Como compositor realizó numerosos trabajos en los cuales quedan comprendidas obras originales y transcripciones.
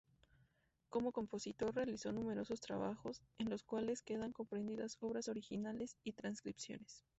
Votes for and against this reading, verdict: 2, 2, rejected